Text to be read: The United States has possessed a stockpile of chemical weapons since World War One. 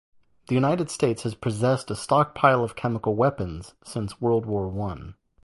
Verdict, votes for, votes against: accepted, 2, 0